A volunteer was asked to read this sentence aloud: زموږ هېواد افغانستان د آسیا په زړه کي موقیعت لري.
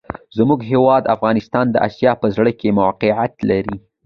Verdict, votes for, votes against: accepted, 2, 0